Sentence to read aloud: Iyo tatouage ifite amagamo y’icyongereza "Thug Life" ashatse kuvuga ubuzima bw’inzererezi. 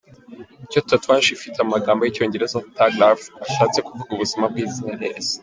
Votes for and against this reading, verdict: 2, 1, accepted